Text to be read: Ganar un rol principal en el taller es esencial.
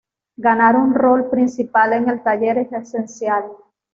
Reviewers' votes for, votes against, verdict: 2, 0, accepted